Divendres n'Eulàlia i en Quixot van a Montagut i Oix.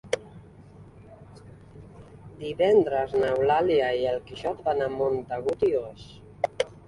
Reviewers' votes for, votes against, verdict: 2, 1, accepted